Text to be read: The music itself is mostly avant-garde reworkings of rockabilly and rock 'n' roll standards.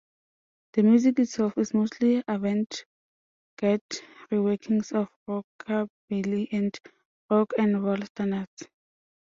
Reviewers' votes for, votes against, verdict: 0, 2, rejected